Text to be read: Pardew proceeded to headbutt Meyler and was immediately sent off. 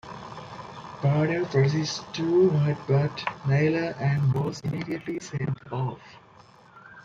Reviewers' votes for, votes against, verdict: 2, 1, accepted